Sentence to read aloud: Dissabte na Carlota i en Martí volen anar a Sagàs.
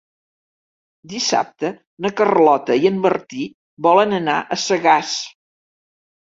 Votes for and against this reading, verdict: 3, 0, accepted